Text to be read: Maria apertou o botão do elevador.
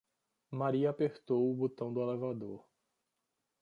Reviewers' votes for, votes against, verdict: 2, 0, accepted